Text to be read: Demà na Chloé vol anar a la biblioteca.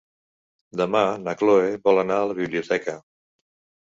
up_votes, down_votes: 0, 2